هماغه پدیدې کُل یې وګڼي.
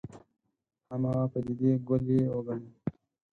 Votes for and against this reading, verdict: 2, 4, rejected